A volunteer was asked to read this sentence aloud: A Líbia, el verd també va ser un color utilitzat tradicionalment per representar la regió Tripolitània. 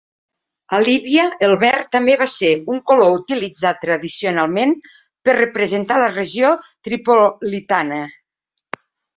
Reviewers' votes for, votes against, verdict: 1, 2, rejected